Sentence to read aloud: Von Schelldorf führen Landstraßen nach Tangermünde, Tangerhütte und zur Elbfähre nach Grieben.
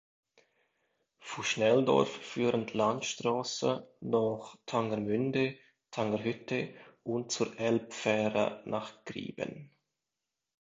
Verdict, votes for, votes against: rejected, 0, 2